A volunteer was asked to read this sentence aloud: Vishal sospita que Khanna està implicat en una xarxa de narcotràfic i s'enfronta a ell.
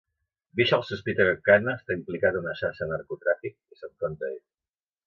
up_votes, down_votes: 0, 2